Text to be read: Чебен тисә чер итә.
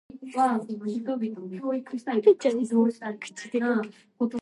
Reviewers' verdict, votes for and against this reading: rejected, 0, 2